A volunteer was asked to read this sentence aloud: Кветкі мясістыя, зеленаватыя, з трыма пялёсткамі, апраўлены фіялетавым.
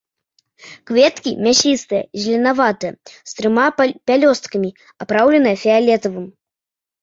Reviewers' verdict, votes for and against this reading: accepted, 2, 0